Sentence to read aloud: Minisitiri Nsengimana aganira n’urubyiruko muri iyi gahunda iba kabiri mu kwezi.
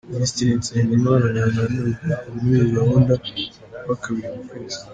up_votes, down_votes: 2, 0